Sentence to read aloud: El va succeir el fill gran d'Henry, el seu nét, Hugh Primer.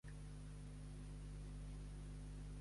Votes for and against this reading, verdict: 0, 2, rejected